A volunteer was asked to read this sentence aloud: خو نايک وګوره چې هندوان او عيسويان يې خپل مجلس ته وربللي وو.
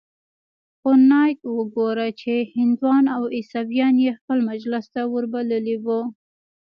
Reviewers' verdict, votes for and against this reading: rejected, 1, 2